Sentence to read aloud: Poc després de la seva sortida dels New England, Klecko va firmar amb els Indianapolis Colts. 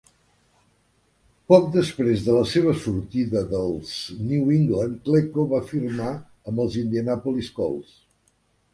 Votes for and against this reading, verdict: 2, 0, accepted